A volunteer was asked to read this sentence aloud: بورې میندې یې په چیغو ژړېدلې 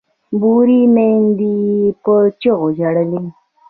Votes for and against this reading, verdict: 1, 2, rejected